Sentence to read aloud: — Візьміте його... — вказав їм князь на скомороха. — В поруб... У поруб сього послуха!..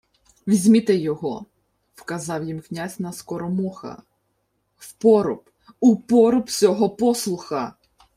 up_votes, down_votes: 0, 2